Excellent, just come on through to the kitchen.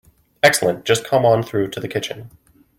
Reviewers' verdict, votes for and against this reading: accepted, 2, 0